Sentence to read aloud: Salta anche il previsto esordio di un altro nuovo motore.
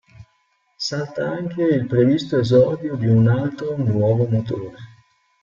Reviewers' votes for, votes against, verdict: 0, 2, rejected